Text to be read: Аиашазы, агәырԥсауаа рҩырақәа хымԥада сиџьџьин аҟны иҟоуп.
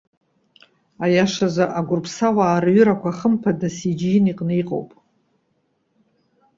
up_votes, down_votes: 0, 2